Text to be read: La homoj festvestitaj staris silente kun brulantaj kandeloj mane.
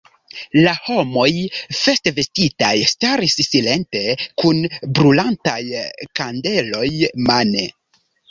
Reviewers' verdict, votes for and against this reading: accepted, 2, 0